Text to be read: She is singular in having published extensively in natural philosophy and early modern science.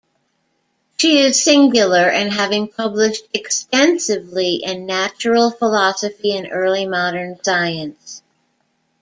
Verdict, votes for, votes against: accepted, 2, 0